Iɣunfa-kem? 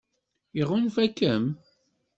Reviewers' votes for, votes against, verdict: 2, 0, accepted